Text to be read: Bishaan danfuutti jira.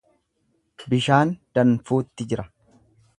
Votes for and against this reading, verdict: 2, 0, accepted